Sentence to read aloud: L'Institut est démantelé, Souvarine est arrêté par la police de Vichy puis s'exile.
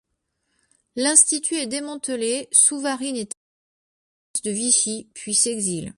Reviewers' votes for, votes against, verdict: 0, 2, rejected